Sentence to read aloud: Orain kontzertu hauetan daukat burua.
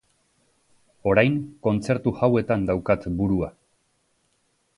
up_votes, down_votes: 1, 2